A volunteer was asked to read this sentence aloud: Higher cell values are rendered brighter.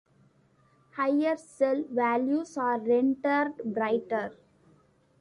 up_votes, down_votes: 2, 1